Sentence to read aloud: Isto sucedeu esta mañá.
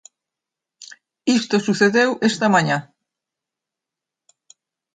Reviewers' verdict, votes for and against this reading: accepted, 2, 0